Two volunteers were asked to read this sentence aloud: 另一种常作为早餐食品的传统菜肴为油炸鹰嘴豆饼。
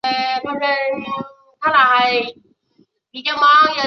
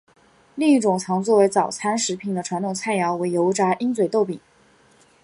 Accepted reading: second